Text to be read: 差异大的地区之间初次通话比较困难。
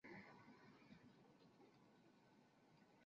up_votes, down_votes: 0, 3